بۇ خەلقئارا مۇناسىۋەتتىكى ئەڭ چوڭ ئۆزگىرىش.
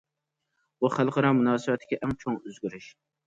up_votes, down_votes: 2, 0